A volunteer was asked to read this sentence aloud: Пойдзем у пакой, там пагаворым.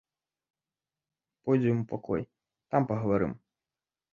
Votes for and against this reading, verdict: 0, 2, rejected